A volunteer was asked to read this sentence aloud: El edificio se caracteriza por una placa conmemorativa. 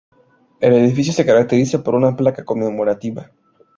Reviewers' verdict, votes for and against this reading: accepted, 2, 0